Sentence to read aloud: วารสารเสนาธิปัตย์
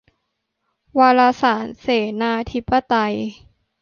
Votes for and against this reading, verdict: 0, 2, rejected